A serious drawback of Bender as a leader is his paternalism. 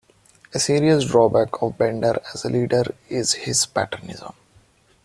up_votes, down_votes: 1, 2